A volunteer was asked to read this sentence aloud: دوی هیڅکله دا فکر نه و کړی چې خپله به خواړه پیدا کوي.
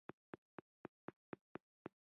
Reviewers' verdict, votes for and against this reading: rejected, 1, 2